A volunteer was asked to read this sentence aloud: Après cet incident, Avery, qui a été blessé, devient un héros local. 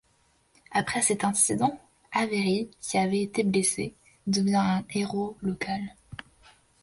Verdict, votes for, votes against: rejected, 0, 2